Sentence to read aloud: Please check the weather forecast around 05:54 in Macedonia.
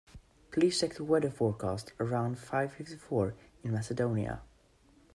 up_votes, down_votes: 0, 2